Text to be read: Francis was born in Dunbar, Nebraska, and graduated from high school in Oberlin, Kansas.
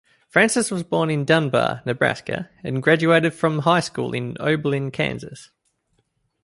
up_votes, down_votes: 2, 0